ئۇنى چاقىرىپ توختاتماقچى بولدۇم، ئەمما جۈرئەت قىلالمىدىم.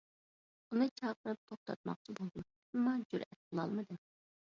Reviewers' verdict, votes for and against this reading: rejected, 1, 2